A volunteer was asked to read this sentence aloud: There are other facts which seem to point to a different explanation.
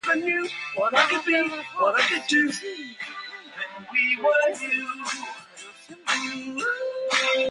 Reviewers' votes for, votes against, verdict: 0, 2, rejected